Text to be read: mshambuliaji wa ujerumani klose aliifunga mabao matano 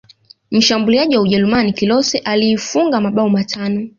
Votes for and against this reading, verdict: 2, 0, accepted